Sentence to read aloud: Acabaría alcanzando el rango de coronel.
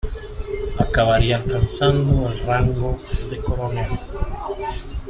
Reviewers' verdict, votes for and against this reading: accepted, 2, 1